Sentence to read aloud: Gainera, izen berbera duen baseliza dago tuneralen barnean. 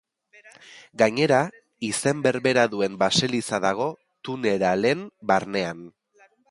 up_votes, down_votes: 1, 2